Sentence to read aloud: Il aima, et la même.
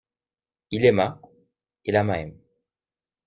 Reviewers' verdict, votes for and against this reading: accepted, 2, 0